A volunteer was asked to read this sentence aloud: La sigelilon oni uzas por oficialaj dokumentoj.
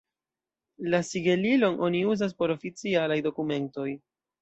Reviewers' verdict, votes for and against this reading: accepted, 2, 0